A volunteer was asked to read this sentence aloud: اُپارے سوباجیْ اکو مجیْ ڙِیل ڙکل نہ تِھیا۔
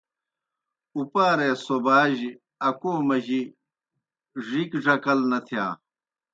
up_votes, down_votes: 0, 2